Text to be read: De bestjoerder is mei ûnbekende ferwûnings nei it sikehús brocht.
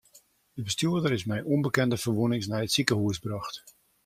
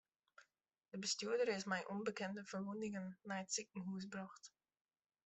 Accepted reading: first